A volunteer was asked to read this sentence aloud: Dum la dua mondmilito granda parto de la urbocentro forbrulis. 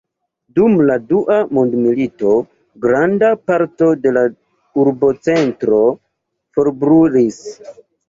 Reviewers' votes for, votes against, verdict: 2, 0, accepted